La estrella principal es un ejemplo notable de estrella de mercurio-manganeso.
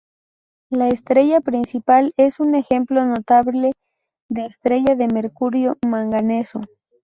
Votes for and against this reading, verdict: 6, 0, accepted